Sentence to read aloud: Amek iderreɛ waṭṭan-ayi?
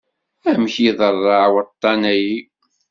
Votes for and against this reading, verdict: 1, 2, rejected